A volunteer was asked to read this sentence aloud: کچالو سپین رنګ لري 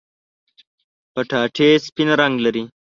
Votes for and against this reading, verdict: 0, 2, rejected